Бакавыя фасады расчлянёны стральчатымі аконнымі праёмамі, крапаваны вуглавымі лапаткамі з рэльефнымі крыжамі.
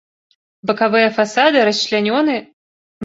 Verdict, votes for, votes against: rejected, 0, 2